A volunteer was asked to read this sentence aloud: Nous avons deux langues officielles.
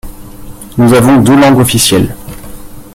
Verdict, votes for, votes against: rejected, 2, 3